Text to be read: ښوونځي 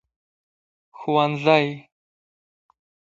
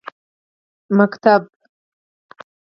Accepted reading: first